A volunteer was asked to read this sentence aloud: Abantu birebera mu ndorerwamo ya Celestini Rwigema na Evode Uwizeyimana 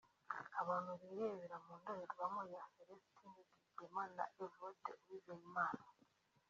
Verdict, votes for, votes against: rejected, 0, 2